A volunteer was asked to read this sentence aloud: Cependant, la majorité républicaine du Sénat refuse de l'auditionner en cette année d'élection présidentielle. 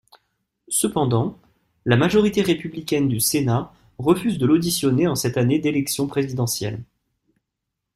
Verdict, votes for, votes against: accepted, 2, 0